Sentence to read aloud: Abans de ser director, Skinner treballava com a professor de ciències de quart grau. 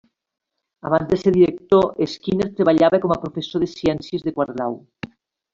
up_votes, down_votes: 2, 1